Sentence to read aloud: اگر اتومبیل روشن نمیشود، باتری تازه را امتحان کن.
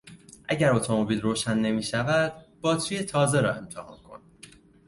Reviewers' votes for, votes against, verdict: 2, 0, accepted